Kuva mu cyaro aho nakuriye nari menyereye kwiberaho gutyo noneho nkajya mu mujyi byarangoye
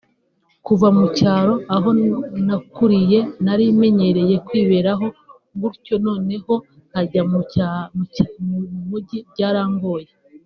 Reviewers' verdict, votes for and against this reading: rejected, 0, 2